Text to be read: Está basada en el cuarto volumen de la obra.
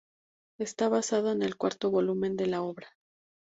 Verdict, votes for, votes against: accepted, 4, 0